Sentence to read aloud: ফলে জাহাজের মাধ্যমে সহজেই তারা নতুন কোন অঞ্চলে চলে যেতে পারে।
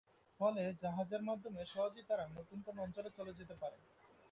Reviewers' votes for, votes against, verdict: 0, 2, rejected